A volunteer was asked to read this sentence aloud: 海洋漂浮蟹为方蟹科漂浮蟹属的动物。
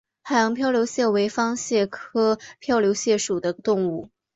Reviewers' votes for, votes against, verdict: 1, 2, rejected